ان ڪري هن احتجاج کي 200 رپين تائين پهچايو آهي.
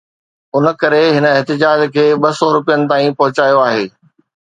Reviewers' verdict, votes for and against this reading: rejected, 0, 2